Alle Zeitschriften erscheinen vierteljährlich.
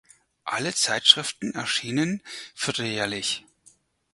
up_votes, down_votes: 0, 4